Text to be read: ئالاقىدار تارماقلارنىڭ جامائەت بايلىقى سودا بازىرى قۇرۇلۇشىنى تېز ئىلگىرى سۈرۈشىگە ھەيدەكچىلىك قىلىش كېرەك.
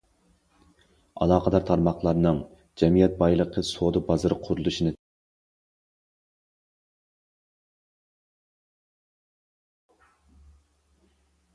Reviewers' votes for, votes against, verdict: 0, 2, rejected